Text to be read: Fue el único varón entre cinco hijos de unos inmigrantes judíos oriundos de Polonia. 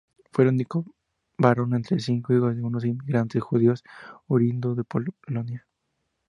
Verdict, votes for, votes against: rejected, 0, 2